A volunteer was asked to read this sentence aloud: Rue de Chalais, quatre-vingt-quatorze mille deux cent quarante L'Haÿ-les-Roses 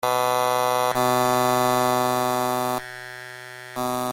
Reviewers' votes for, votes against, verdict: 0, 2, rejected